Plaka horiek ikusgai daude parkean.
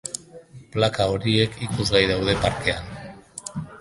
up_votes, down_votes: 3, 1